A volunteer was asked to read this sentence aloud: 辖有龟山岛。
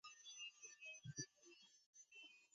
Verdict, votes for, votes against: rejected, 1, 5